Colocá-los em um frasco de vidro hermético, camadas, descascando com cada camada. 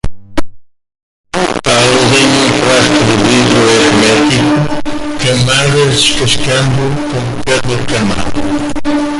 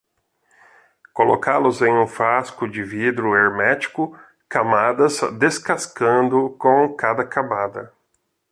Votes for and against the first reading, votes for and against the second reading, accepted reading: 0, 2, 2, 0, second